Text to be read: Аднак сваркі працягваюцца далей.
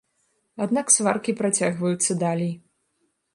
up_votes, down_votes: 1, 2